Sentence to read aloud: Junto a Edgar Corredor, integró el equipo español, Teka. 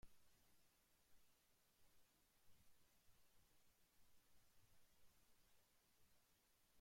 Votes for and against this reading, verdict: 0, 2, rejected